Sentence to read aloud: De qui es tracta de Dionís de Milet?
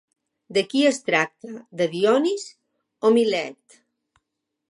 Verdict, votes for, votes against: rejected, 0, 2